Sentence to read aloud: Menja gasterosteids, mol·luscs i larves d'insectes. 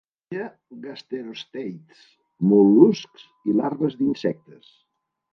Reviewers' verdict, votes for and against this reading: rejected, 1, 2